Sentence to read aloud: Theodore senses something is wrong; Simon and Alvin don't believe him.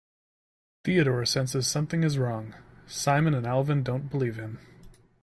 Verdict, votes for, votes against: accepted, 2, 0